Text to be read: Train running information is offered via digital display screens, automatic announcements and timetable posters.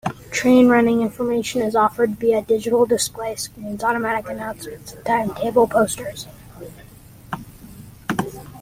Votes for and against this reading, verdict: 2, 1, accepted